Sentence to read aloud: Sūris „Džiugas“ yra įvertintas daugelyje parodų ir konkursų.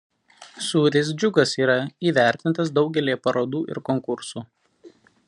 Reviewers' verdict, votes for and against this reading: accepted, 2, 0